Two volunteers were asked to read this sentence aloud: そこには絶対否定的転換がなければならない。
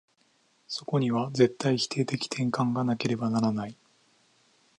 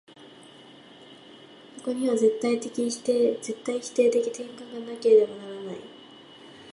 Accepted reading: first